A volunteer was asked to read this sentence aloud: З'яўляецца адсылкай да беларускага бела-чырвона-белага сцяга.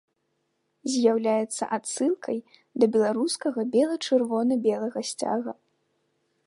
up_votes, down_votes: 2, 0